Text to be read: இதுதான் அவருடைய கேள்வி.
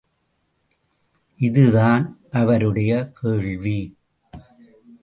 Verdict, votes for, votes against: rejected, 0, 2